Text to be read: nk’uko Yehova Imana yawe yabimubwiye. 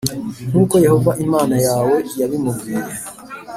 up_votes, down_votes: 2, 0